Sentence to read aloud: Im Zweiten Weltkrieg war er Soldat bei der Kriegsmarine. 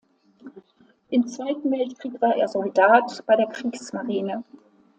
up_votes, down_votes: 2, 0